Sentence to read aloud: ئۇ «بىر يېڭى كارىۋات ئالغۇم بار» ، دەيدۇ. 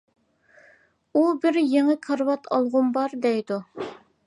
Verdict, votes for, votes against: accepted, 3, 0